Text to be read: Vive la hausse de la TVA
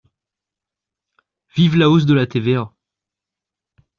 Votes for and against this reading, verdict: 2, 0, accepted